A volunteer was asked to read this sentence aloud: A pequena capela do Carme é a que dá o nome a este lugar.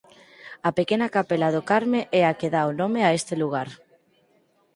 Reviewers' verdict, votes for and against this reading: rejected, 2, 4